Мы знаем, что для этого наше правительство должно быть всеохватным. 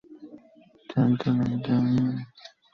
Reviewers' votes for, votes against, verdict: 0, 2, rejected